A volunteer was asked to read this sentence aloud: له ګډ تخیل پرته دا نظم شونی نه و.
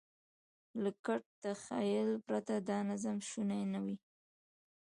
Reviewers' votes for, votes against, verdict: 2, 1, accepted